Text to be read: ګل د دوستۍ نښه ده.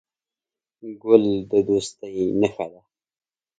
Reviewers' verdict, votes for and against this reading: accepted, 3, 0